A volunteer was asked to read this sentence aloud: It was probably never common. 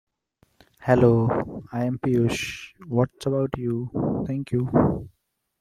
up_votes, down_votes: 1, 2